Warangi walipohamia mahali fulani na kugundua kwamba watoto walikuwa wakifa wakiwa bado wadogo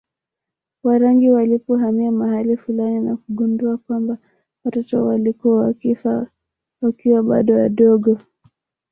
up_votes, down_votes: 0, 2